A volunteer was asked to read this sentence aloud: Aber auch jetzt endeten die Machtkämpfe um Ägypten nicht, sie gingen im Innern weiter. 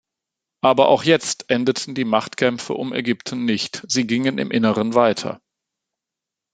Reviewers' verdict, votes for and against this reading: rejected, 1, 2